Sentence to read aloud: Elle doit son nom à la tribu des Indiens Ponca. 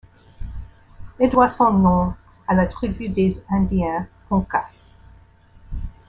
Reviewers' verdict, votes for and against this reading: accepted, 2, 0